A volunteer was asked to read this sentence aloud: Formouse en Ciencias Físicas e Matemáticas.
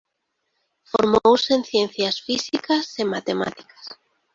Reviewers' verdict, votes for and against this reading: rejected, 0, 2